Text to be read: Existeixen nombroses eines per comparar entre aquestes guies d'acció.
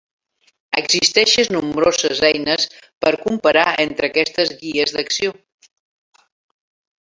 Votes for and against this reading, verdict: 1, 4, rejected